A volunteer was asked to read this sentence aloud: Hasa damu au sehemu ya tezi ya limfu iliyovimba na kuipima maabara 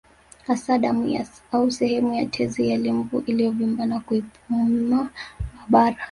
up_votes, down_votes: 1, 2